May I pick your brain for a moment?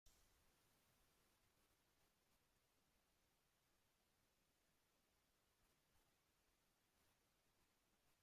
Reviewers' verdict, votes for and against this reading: rejected, 0, 3